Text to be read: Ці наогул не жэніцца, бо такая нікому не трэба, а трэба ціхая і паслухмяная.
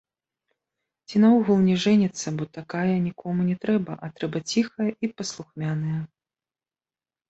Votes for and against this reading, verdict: 2, 1, accepted